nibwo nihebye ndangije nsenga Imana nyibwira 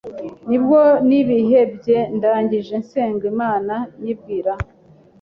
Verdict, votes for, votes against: rejected, 1, 2